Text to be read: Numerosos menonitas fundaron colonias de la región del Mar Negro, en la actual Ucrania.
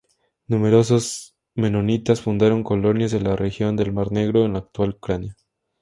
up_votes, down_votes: 2, 0